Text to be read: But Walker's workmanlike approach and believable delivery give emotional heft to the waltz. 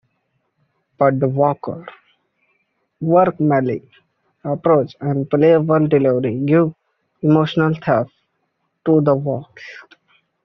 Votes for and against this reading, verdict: 1, 2, rejected